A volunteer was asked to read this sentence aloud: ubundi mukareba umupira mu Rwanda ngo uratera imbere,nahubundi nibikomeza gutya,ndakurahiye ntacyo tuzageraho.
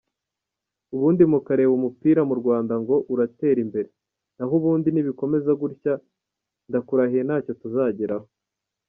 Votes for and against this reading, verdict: 3, 0, accepted